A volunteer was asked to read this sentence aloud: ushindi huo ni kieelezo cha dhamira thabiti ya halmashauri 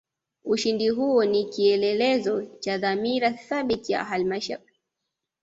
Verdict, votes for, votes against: accepted, 2, 0